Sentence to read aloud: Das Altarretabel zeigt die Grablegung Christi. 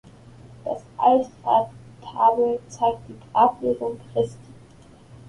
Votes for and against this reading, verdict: 0, 2, rejected